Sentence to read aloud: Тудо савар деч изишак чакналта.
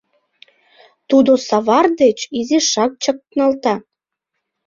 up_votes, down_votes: 2, 0